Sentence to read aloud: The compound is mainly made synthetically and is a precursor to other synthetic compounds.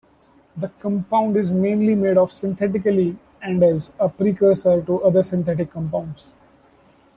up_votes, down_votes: 2, 1